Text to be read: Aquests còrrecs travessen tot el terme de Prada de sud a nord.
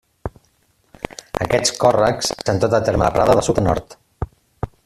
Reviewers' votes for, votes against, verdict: 0, 2, rejected